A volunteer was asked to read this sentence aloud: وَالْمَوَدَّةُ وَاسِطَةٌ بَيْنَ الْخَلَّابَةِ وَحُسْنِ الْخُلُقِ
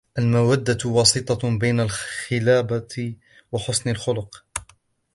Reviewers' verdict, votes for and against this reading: rejected, 1, 2